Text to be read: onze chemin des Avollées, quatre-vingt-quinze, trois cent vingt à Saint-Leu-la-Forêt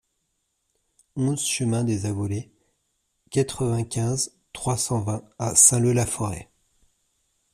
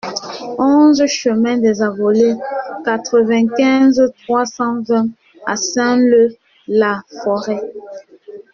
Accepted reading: first